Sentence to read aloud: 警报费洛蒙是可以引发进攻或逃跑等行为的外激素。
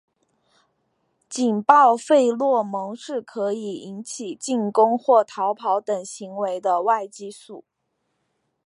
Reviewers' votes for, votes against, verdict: 3, 0, accepted